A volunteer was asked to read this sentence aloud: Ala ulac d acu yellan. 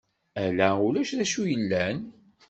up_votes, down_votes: 2, 0